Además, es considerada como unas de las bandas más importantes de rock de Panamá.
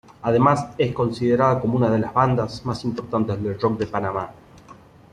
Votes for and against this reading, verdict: 0, 2, rejected